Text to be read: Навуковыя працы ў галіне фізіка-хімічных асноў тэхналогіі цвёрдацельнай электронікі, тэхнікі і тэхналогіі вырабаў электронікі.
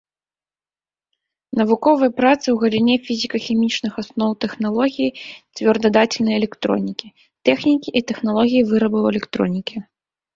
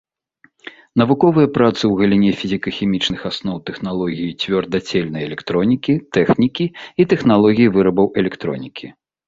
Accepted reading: second